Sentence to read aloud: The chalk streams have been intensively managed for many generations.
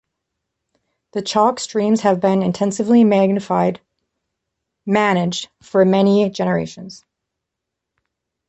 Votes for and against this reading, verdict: 1, 3, rejected